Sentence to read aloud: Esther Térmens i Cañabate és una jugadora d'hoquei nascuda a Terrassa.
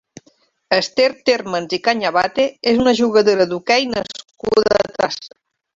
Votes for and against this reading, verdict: 0, 3, rejected